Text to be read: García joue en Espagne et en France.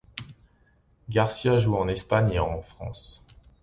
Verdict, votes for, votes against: accepted, 2, 0